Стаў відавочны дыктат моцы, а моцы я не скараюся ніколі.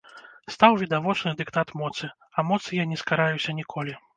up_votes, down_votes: 2, 0